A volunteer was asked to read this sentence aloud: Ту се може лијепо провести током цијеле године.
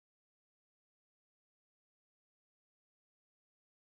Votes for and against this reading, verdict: 0, 2, rejected